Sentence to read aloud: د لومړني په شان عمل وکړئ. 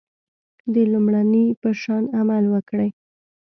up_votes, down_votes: 2, 0